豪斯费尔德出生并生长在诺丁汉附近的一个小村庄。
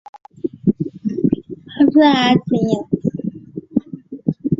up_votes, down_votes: 3, 1